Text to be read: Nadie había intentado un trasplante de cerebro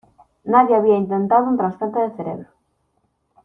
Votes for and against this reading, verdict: 1, 2, rejected